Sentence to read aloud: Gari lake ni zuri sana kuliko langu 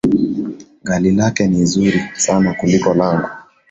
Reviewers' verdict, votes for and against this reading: accepted, 2, 1